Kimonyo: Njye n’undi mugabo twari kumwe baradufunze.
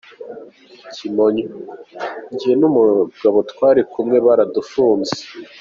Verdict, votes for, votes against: rejected, 1, 2